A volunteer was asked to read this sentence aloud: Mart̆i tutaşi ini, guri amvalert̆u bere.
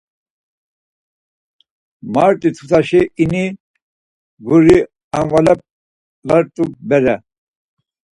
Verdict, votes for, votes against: rejected, 0, 4